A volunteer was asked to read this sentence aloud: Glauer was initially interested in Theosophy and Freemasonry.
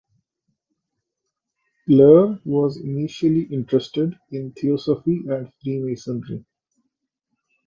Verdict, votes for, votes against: accepted, 2, 0